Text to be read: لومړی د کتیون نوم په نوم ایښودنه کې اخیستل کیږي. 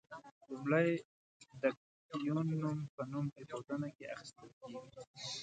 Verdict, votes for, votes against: rejected, 1, 2